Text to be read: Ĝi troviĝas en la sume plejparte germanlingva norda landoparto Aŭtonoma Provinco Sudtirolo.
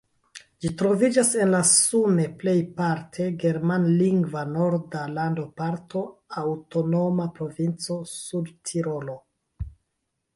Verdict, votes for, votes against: rejected, 0, 2